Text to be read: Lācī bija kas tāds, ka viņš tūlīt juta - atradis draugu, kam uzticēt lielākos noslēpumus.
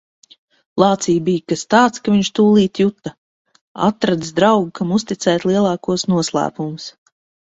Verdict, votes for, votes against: accepted, 2, 0